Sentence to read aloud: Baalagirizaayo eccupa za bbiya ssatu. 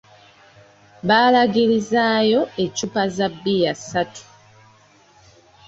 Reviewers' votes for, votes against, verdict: 2, 1, accepted